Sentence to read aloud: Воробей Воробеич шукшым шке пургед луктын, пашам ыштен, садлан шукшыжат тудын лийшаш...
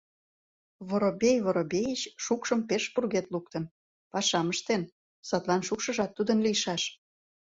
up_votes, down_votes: 0, 2